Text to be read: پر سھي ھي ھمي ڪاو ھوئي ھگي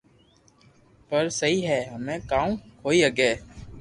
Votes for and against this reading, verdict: 2, 0, accepted